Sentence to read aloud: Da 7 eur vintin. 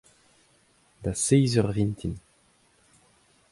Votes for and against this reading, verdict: 0, 2, rejected